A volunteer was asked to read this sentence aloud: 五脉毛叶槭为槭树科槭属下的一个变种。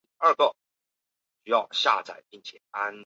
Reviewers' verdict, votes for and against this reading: rejected, 0, 2